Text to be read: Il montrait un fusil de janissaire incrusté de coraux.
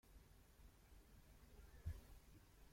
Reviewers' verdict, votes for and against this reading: rejected, 0, 2